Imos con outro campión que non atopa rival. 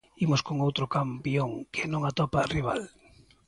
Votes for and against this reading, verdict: 2, 0, accepted